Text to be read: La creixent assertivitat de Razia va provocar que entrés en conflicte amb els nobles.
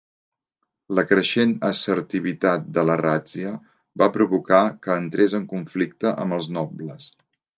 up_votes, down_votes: 0, 2